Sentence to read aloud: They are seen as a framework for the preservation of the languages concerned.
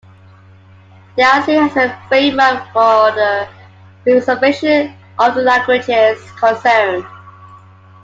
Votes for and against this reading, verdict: 2, 1, accepted